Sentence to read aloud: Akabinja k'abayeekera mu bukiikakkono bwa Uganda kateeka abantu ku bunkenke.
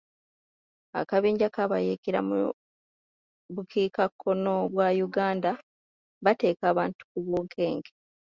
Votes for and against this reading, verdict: 1, 2, rejected